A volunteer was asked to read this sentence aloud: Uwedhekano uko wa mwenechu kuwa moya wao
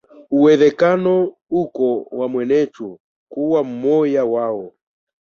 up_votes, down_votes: 0, 2